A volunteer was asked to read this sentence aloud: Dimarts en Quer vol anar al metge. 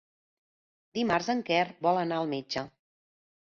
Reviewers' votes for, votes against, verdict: 3, 0, accepted